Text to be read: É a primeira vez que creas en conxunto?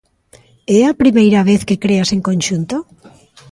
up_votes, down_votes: 2, 0